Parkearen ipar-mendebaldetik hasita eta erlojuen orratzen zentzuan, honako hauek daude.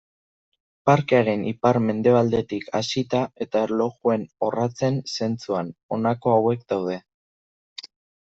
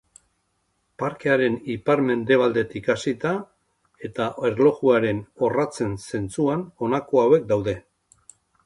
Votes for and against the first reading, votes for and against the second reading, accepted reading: 2, 0, 1, 2, first